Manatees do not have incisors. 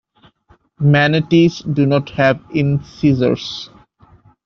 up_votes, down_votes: 1, 2